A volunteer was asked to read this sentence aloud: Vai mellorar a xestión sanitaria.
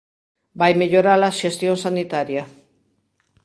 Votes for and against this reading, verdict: 1, 2, rejected